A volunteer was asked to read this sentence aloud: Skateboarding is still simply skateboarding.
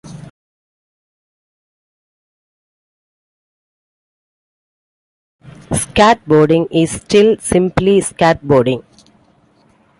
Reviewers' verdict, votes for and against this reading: accepted, 2, 1